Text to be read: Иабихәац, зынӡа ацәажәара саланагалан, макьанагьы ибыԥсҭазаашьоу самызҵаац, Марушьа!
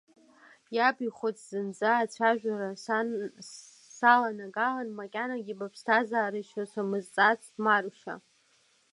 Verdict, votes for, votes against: rejected, 1, 2